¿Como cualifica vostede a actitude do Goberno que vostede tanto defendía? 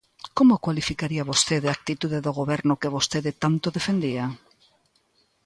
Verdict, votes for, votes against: rejected, 0, 2